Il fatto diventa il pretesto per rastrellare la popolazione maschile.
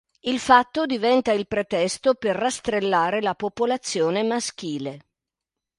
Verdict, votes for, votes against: accepted, 2, 0